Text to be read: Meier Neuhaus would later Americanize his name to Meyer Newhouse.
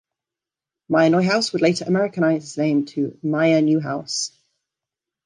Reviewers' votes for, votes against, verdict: 2, 0, accepted